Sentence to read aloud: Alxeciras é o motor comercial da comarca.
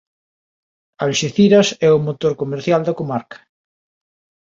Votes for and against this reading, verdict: 2, 0, accepted